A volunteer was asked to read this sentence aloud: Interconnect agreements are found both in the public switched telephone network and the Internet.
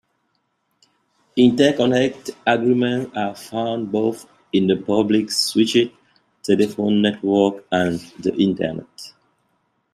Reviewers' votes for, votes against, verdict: 0, 2, rejected